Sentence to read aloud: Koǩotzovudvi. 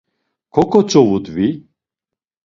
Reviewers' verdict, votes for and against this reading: accepted, 2, 0